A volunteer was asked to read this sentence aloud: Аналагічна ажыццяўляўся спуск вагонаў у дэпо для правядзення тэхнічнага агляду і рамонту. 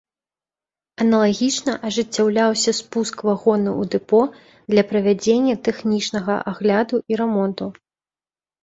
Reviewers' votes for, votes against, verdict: 3, 0, accepted